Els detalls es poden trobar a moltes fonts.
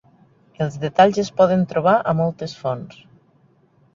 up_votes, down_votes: 3, 0